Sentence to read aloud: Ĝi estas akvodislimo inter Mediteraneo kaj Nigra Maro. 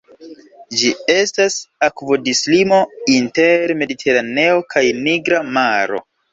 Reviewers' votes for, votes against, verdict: 3, 0, accepted